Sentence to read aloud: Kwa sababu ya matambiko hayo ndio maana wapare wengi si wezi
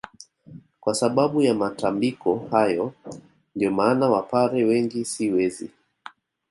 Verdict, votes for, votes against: accepted, 2, 0